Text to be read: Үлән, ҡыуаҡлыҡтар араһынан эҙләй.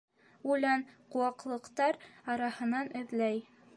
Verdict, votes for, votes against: accepted, 2, 0